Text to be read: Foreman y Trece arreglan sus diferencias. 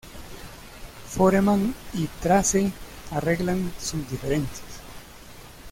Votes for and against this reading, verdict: 0, 2, rejected